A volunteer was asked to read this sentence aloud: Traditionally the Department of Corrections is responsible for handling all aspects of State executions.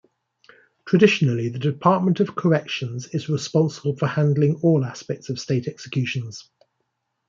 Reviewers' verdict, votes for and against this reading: accepted, 2, 0